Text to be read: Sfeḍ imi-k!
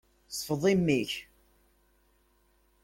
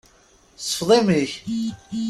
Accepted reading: first